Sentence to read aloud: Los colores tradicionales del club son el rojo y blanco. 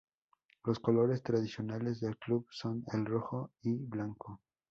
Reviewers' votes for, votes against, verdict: 2, 0, accepted